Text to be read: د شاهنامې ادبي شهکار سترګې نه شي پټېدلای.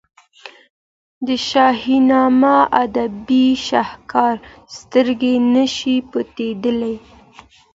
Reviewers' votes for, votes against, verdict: 2, 0, accepted